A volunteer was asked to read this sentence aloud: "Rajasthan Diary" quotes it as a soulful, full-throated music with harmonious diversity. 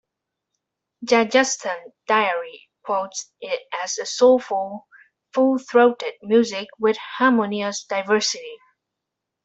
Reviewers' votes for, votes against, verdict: 0, 2, rejected